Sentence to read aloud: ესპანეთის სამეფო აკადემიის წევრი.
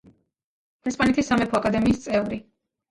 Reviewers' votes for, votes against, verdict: 1, 2, rejected